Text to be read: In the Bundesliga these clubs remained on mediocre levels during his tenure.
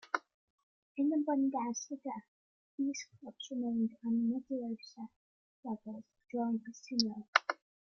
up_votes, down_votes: 0, 2